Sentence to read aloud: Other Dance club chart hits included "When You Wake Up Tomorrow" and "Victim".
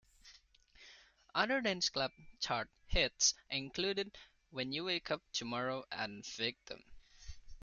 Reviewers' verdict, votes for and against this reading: accepted, 2, 1